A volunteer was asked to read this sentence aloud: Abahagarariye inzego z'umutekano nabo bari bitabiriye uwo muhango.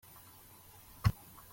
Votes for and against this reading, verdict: 0, 2, rejected